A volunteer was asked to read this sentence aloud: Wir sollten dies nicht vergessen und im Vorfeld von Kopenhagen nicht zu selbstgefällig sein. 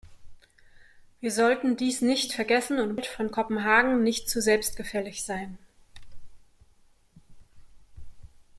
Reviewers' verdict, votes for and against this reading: rejected, 0, 2